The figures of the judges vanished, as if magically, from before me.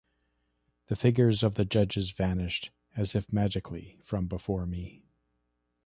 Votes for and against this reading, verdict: 3, 0, accepted